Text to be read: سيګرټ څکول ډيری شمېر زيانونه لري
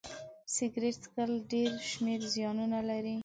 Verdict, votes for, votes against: accepted, 3, 0